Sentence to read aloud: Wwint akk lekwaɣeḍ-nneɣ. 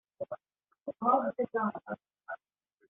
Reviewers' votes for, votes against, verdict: 0, 2, rejected